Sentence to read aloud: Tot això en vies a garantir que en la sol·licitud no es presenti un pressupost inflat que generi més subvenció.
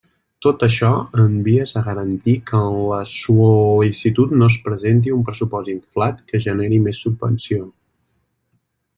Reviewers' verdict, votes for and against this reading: rejected, 0, 2